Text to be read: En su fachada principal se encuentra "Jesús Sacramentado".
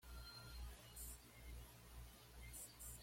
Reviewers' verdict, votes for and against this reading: rejected, 1, 2